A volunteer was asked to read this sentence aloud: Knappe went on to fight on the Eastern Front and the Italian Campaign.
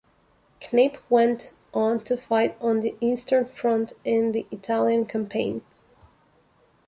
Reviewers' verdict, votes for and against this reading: rejected, 1, 2